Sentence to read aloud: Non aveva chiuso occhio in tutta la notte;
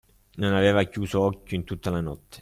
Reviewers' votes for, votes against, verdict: 2, 0, accepted